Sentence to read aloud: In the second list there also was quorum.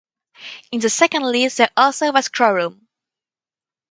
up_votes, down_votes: 4, 0